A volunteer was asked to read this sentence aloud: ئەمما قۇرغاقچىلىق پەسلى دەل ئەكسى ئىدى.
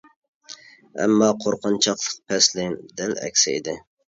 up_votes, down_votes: 0, 2